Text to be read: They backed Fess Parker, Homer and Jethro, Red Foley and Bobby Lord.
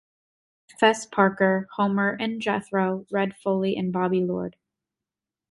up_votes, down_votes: 2, 3